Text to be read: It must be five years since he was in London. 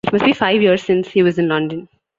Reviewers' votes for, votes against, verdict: 2, 1, accepted